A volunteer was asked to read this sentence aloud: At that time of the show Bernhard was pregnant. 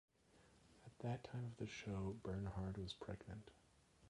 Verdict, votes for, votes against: rejected, 0, 2